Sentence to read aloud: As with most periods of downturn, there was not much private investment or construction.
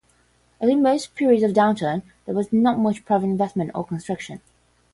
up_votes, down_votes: 5, 15